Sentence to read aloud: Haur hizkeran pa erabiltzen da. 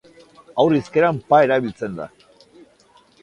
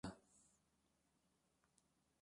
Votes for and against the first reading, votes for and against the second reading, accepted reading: 2, 0, 1, 2, first